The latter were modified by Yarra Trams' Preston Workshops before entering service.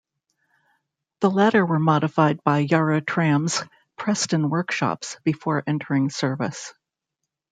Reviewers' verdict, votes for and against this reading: accepted, 2, 0